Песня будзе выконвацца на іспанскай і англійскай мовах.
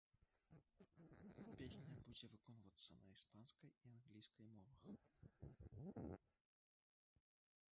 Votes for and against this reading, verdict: 1, 2, rejected